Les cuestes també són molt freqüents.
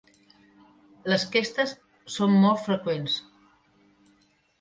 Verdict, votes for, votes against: rejected, 0, 2